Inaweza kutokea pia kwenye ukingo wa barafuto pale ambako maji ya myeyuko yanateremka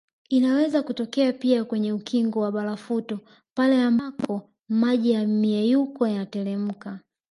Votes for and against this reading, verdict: 0, 2, rejected